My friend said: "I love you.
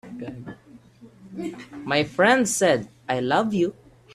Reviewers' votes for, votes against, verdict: 2, 0, accepted